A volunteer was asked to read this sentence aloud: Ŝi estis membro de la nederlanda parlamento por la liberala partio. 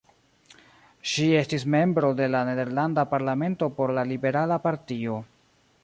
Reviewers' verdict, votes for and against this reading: accepted, 2, 1